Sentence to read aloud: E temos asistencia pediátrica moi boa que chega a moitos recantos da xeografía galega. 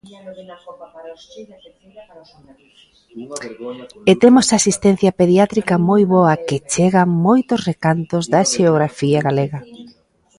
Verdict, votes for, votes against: rejected, 1, 2